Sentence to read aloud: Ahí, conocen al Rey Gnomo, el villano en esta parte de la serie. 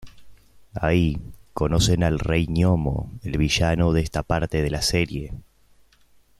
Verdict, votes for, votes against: rejected, 1, 2